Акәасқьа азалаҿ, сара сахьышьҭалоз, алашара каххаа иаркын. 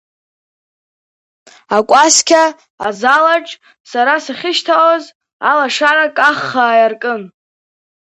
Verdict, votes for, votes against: rejected, 0, 2